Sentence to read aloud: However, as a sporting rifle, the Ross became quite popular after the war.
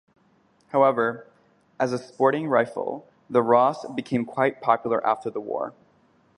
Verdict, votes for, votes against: accepted, 2, 0